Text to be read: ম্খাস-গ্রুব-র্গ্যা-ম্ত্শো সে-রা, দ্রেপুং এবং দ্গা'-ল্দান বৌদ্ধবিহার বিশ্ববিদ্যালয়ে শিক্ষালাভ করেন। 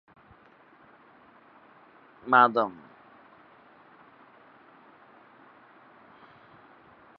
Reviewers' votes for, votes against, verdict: 0, 5, rejected